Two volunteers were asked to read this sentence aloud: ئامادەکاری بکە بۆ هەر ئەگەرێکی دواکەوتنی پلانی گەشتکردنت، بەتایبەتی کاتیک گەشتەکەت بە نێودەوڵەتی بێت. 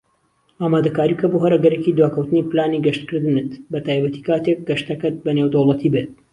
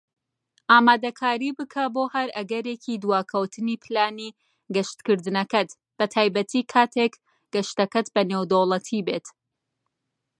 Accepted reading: first